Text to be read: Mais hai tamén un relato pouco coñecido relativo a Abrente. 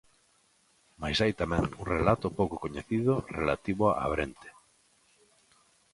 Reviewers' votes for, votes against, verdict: 2, 0, accepted